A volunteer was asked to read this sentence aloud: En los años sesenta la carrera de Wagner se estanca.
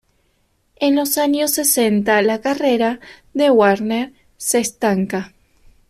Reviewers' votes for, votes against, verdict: 2, 1, accepted